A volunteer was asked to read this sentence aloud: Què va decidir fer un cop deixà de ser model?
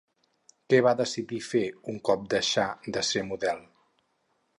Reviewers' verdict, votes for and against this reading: rejected, 2, 2